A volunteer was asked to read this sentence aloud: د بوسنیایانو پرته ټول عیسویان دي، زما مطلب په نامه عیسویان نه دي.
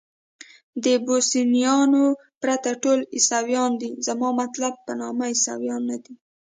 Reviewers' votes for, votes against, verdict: 1, 2, rejected